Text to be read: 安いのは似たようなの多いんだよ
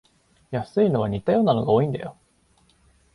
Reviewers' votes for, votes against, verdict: 0, 2, rejected